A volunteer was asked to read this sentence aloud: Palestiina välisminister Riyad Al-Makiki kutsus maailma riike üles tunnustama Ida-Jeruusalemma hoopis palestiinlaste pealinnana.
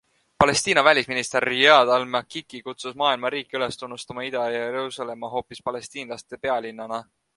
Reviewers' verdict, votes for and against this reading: accepted, 2, 0